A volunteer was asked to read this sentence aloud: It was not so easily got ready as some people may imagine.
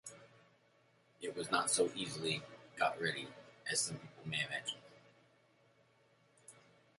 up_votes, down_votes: 0, 2